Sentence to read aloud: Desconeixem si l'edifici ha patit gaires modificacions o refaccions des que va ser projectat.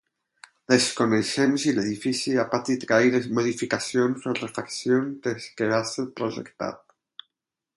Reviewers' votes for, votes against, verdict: 4, 4, rejected